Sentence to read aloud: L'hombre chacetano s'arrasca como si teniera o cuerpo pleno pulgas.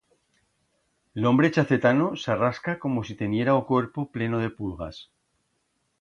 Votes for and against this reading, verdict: 1, 2, rejected